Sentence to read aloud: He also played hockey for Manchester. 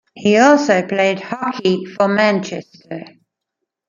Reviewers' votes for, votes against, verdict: 1, 2, rejected